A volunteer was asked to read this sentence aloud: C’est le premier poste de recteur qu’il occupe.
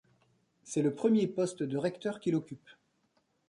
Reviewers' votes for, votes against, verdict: 2, 0, accepted